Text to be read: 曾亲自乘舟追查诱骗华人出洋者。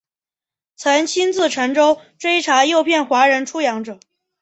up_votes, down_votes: 3, 0